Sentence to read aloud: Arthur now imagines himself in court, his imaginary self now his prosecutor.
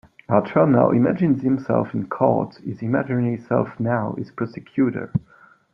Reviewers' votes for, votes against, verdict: 2, 0, accepted